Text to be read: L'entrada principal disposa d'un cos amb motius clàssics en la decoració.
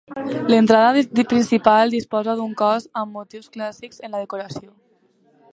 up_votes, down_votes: 1, 2